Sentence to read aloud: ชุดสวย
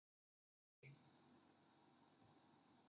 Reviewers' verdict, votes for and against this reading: rejected, 0, 2